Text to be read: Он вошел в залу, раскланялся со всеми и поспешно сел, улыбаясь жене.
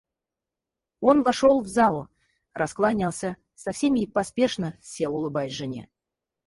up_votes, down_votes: 2, 4